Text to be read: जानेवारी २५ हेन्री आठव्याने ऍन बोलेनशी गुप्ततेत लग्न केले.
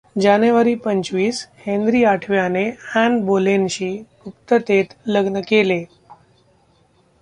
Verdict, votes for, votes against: rejected, 0, 2